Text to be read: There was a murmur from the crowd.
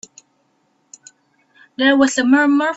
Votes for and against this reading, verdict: 0, 3, rejected